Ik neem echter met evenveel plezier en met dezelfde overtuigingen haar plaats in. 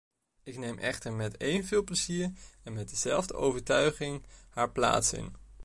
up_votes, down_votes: 2, 0